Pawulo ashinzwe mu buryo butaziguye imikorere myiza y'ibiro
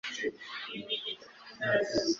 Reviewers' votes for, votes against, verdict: 1, 2, rejected